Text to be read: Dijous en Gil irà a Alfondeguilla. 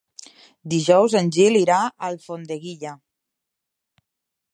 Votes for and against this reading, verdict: 3, 0, accepted